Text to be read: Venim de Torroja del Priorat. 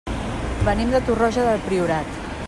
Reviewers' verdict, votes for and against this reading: accepted, 3, 0